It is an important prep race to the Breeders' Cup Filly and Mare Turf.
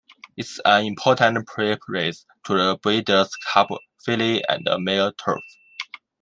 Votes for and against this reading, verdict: 1, 2, rejected